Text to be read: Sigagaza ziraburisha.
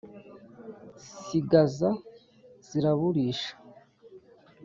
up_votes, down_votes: 1, 2